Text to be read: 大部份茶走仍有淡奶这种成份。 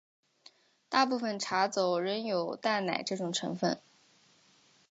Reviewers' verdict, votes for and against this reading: accepted, 5, 0